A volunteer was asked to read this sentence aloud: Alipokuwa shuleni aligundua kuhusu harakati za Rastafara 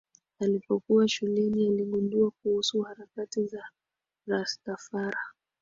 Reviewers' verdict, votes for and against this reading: rejected, 3, 3